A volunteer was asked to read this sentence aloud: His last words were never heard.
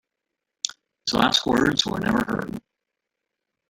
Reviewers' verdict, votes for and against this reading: rejected, 2, 3